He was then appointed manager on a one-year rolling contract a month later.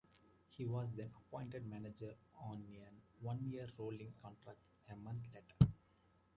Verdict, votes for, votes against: accepted, 2, 1